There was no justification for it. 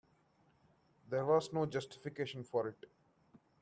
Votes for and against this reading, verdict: 2, 0, accepted